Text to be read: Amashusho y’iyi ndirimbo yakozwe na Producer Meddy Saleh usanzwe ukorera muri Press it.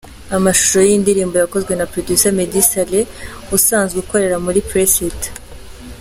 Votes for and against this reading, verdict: 2, 0, accepted